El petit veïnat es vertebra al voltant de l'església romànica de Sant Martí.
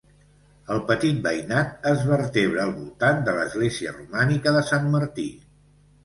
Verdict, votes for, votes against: accepted, 2, 0